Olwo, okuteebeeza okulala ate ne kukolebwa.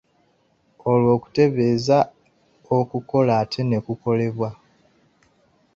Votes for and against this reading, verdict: 0, 2, rejected